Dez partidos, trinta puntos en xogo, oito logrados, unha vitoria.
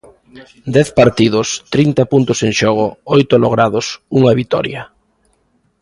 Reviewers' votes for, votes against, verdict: 2, 0, accepted